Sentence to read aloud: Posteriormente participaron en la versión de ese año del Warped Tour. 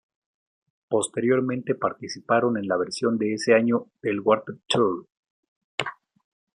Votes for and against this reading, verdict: 2, 0, accepted